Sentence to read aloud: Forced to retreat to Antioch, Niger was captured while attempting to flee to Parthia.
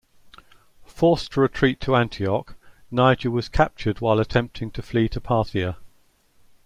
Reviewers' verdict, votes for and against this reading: accepted, 2, 0